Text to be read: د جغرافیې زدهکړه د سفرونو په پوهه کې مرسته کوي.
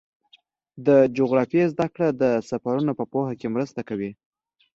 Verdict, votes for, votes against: accepted, 2, 0